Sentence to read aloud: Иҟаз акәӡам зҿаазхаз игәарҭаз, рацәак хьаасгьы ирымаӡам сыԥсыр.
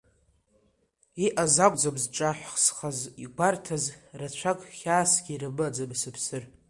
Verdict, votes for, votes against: accepted, 2, 1